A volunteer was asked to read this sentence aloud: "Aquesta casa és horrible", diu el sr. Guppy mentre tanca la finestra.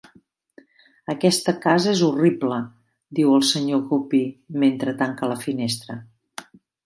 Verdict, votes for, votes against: accepted, 2, 0